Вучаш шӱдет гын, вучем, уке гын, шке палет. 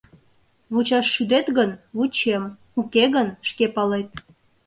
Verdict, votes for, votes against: accepted, 2, 0